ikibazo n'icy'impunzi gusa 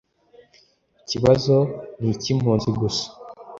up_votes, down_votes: 2, 0